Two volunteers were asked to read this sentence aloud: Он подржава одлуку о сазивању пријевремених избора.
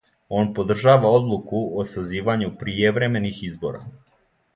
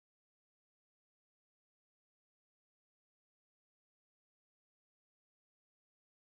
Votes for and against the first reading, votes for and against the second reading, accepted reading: 2, 0, 0, 2, first